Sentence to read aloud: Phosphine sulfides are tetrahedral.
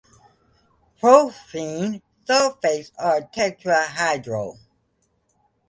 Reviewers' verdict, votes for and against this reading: accepted, 2, 0